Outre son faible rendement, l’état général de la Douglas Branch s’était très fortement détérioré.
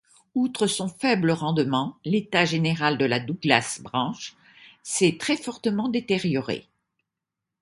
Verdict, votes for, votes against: rejected, 1, 2